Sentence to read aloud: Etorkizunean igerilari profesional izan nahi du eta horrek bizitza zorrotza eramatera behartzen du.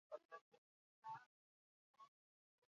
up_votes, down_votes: 0, 2